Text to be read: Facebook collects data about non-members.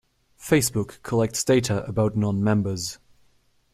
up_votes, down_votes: 2, 0